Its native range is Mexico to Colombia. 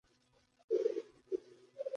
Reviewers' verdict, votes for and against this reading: rejected, 0, 2